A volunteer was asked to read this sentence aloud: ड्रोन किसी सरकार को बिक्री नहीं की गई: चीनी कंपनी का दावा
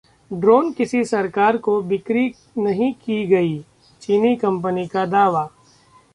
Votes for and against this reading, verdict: 2, 0, accepted